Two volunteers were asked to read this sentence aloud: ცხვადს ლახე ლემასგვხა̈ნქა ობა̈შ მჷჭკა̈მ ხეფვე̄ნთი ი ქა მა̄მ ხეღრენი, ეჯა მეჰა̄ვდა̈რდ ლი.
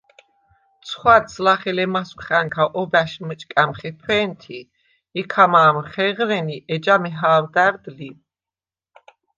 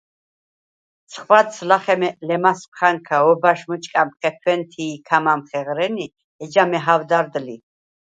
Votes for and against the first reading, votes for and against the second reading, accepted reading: 2, 0, 2, 4, first